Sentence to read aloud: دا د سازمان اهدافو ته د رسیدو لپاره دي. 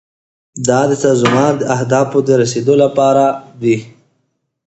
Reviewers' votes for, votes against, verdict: 2, 0, accepted